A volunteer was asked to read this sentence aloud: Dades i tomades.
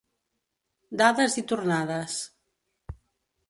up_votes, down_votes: 0, 3